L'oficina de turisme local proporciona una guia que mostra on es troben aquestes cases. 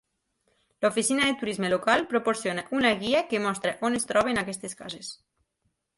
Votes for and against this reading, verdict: 4, 0, accepted